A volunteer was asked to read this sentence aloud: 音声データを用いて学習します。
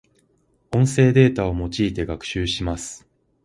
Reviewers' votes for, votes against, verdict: 2, 0, accepted